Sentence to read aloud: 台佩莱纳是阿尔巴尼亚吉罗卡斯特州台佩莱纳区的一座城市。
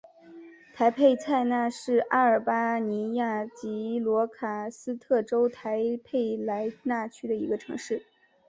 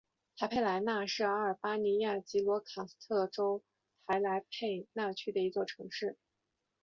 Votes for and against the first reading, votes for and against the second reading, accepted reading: 1, 3, 4, 1, second